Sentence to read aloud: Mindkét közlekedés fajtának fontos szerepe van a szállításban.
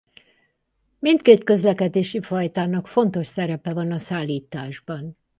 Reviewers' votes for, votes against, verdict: 0, 4, rejected